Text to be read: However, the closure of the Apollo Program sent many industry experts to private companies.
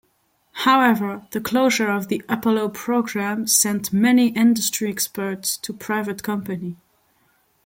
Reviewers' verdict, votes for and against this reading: rejected, 1, 2